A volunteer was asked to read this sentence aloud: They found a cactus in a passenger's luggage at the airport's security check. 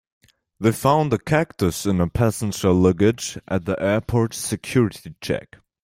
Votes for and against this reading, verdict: 1, 2, rejected